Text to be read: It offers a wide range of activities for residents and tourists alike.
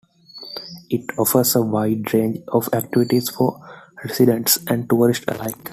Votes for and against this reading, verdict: 2, 1, accepted